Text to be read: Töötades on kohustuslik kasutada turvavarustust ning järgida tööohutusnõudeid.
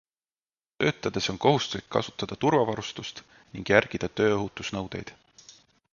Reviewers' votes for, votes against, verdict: 2, 0, accepted